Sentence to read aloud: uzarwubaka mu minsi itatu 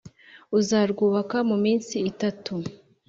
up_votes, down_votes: 2, 0